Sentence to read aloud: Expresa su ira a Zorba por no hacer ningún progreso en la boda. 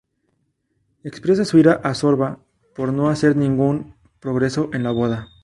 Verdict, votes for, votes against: rejected, 0, 2